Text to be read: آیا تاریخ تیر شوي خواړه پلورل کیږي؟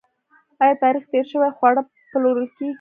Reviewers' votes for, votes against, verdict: 1, 2, rejected